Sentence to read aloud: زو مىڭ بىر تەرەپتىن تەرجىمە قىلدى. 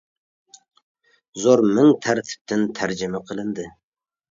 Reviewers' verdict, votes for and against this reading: rejected, 0, 2